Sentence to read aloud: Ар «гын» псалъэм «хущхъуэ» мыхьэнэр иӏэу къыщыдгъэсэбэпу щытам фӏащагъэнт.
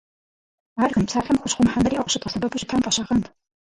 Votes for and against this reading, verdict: 0, 4, rejected